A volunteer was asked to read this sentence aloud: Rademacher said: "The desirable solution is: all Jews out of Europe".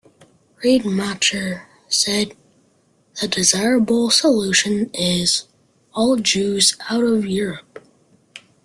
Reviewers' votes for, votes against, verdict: 3, 0, accepted